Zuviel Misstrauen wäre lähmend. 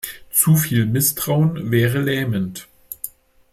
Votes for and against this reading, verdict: 2, 0, accepted